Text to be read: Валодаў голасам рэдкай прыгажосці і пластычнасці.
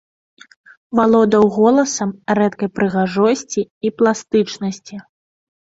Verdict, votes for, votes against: accepted, 2, 0